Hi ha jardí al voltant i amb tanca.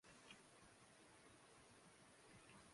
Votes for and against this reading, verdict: 0, 2, rejected